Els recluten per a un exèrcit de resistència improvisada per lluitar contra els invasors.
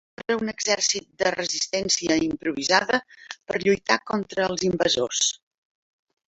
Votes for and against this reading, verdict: 0, 3, rejected